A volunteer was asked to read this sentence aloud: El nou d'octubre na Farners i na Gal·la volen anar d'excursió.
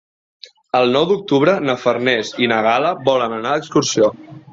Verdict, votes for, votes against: accepted, 3, 0